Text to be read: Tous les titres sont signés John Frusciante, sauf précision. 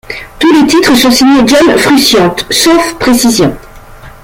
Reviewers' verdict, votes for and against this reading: rejected, 1, 2